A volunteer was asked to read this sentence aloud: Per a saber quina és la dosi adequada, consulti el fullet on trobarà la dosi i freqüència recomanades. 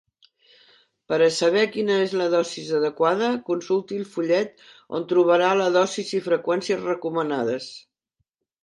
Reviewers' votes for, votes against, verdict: 0, 2, rejected